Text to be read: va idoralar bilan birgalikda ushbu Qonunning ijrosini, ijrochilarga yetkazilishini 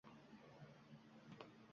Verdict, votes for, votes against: rejected, 0, 2